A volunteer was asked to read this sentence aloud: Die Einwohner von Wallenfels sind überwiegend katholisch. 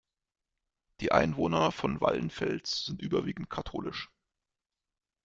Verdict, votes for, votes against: rejected, 1, 2